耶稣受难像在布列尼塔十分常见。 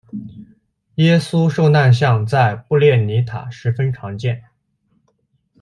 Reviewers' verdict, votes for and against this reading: accepted, 2, 0